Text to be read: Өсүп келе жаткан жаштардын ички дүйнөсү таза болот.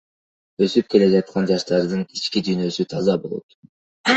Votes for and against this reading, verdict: 2, 1, accepted